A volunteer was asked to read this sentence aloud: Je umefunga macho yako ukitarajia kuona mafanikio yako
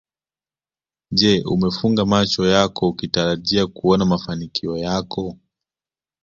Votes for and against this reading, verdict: 2, 0, accepted